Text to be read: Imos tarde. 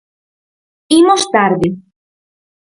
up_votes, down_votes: 4, 0